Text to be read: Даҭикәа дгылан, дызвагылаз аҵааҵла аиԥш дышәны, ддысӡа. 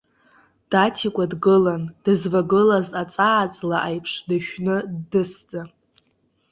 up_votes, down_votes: 2, 1